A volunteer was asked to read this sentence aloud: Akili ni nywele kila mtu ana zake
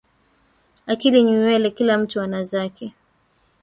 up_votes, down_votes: 2, 1